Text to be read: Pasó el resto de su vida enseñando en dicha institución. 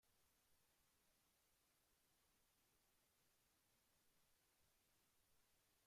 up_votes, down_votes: 0, 2